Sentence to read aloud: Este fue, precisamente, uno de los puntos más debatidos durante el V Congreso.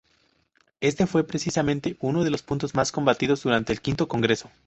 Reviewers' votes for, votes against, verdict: 0, 2, rejected